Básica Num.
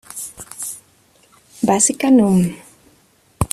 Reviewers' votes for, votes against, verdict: 1, 2, rejected